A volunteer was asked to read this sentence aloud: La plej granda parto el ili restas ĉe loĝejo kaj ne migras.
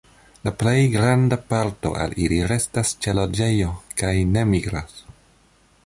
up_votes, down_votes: 2, 0